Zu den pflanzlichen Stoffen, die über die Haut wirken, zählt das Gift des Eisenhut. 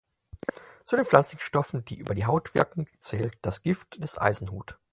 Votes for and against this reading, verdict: 6, 0, accepted